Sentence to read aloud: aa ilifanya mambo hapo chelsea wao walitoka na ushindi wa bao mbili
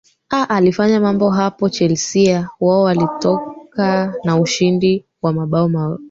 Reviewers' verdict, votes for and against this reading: rejected, 1, 2